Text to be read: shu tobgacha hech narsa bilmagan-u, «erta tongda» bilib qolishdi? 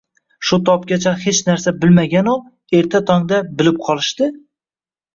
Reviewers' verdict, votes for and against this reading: rejected, 1, 2